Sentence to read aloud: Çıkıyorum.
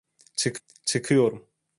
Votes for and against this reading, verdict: 0, 2, rejected